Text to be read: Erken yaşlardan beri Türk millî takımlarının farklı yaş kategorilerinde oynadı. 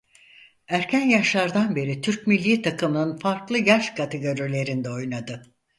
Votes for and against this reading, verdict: 0, 4, rejected